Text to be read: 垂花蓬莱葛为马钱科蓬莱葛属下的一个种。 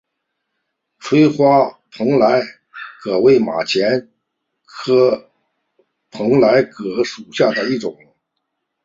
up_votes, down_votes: 3, 2